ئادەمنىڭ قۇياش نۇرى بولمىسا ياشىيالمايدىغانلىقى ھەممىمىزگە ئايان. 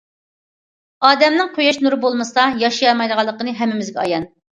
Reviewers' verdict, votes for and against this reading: rejected, 0, 2